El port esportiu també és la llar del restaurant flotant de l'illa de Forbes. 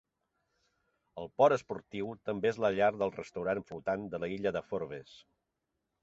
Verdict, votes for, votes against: rejected, 0, 2